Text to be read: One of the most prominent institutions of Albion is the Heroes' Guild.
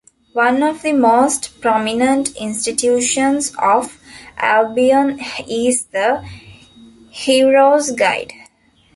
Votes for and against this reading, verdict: 0, 2, rejected